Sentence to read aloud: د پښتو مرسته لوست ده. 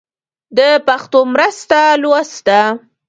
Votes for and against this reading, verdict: 0, 2, rejected